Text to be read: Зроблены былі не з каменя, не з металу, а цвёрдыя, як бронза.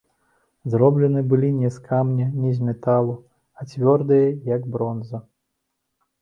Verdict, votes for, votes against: rejected, 0, 2